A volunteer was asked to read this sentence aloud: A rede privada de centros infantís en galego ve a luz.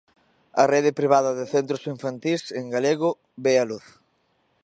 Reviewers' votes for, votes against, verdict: 2, 0, accepted